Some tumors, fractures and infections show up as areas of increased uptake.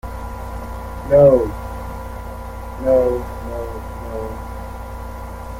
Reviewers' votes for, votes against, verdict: 0, 2, rejected